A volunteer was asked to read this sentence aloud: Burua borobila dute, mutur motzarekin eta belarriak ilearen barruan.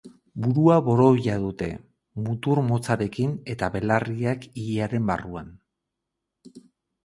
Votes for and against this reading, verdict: 4, 2, accepted